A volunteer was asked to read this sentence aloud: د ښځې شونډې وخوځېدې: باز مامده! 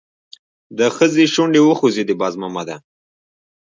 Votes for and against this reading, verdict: 2, 0, accepted